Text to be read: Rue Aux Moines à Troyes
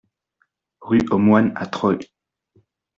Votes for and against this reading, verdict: 0, 2, rejected